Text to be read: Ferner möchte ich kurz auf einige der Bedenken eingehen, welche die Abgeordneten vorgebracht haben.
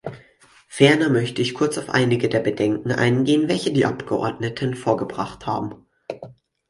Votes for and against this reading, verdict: 4, 0, accepted